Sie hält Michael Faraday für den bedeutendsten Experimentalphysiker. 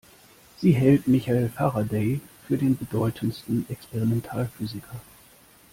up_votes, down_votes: 1, 2